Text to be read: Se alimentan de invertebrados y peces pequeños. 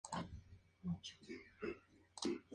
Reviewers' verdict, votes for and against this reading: accepted, 2, 0